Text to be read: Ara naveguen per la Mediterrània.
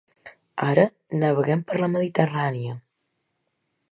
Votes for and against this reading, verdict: 0, 2, rejected